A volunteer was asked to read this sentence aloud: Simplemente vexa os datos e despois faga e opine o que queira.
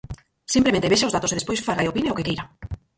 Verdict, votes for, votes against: rejected, 0, 4